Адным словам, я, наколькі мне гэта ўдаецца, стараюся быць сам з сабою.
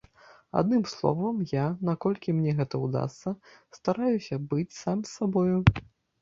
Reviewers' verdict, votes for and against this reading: rejected, 1, 2